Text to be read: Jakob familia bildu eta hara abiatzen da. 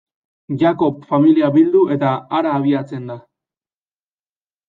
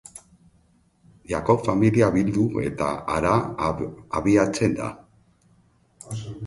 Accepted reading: second